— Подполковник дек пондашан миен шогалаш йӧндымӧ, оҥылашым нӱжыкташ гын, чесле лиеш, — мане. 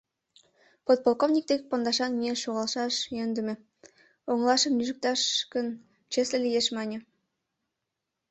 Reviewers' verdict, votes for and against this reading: rejected, 0, 2